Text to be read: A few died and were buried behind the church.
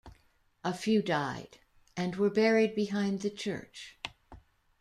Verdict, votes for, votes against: accepted, 2, 0